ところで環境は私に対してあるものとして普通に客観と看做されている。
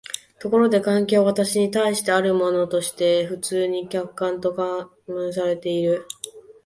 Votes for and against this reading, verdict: 0, 3, rejected